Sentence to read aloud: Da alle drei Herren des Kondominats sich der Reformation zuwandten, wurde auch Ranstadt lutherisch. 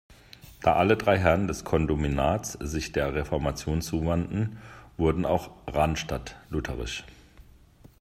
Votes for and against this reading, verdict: 2, 1, accepted